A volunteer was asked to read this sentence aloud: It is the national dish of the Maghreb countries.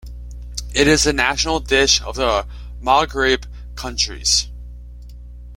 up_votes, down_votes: 2, 1